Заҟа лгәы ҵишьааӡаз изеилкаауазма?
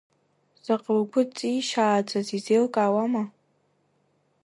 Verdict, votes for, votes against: rejected, 0, 2